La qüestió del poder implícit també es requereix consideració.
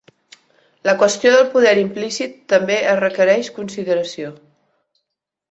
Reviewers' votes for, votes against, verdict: 2, 0, accepted